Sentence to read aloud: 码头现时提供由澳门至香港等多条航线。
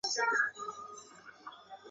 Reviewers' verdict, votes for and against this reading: rejected, 0, 2